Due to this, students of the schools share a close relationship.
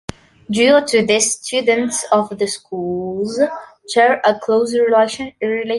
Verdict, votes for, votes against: rejected, 0, 2